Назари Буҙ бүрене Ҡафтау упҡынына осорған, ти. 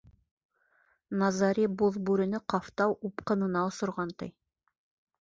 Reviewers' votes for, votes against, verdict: 1, 2, rejected